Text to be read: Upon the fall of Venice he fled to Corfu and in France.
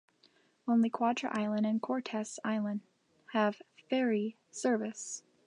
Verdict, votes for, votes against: rejected, 0, 3